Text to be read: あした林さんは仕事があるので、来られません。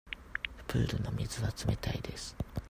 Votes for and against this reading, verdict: 0, 2, rejected